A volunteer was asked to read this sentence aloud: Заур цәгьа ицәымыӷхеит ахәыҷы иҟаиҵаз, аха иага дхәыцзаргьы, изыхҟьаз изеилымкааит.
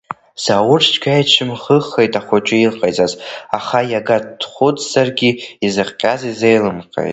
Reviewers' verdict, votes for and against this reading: rejected, 0, 2